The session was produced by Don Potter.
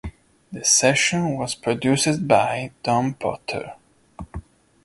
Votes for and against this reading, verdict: 1, 2, rejected